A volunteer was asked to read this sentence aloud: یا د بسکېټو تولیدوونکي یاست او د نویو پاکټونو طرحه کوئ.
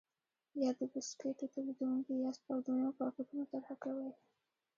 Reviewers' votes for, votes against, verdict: 2, 0, accepted